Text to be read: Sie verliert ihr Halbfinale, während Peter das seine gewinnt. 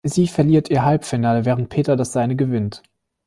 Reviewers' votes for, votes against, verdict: 2, 1, accepted